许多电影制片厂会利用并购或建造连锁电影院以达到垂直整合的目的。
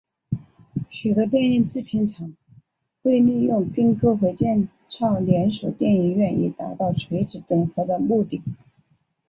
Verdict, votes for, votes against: rejected, 1, 2